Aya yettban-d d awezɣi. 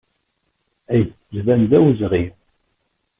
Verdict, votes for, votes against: rejected, 0, 2